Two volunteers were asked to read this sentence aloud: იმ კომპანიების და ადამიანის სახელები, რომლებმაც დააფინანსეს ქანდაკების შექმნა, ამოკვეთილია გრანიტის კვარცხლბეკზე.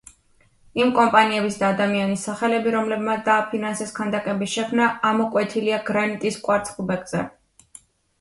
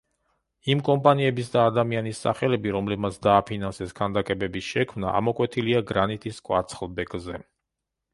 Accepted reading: first